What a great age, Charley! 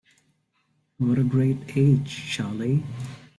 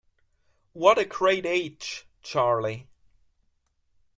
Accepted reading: second